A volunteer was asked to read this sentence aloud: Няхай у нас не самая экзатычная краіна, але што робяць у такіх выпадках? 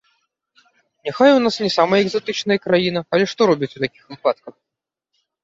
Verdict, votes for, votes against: rejected, 0, 2